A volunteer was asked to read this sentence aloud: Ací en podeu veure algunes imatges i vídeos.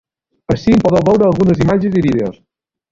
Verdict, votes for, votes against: rejected, 1, 2